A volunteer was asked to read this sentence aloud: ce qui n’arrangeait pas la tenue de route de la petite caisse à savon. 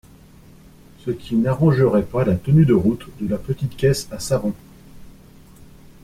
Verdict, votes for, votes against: rejected, 0, 2